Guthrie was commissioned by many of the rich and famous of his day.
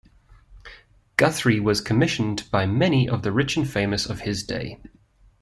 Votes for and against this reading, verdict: 2, 0, accepted